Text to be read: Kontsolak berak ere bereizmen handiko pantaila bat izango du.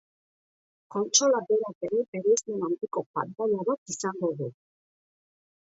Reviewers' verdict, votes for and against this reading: rejected, 1, 2